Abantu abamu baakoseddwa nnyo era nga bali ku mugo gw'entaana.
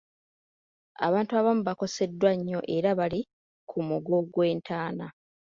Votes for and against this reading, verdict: 1, 2, rejected